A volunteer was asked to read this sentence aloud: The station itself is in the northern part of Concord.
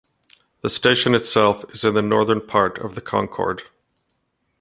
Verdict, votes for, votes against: rejected, 0, 2